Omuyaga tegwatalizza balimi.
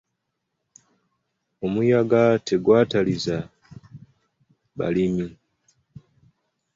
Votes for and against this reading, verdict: 3, 0, accepted